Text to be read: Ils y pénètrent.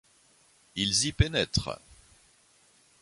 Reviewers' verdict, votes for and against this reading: accepted, 2, 0